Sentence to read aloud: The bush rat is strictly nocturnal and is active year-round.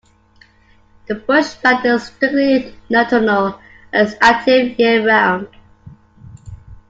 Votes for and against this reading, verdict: 1, 2, rejected